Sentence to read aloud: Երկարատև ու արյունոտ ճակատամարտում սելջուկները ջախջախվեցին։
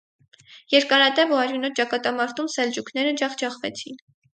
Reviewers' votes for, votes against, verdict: 4, 0, accepted